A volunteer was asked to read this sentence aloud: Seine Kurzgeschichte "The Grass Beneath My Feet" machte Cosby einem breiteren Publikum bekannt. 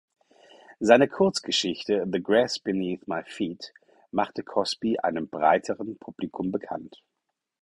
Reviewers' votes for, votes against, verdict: 4, 0, accepted